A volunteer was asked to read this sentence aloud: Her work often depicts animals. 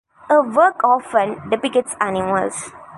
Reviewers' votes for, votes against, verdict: 2, 0, accepted